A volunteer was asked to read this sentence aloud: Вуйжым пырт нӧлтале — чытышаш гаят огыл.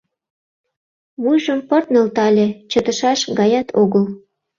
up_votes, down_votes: 2, 0